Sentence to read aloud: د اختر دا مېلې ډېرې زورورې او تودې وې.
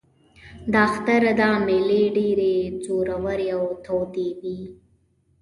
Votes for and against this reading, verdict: 1, 2, rejected